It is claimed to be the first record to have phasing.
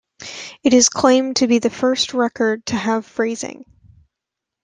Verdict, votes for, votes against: rejected, 0, 2